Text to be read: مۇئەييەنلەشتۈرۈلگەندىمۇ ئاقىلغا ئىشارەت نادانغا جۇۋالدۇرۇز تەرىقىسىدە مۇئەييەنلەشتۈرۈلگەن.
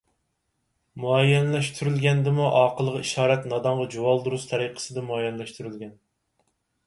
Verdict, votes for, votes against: accepted, 4, 0